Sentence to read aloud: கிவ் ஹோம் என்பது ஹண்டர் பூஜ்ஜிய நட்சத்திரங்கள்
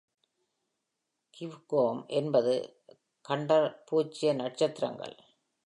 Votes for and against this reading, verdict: 2, 0, accepted